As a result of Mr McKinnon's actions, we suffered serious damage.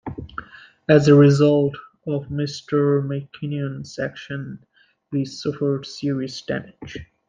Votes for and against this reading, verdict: 2, 0, accepted